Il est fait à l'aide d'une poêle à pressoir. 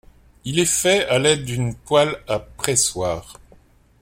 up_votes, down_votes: 2, 0